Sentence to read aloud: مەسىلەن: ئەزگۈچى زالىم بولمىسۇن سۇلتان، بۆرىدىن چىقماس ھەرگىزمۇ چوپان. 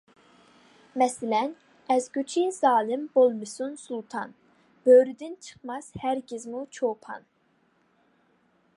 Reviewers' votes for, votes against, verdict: 2, 0, accepted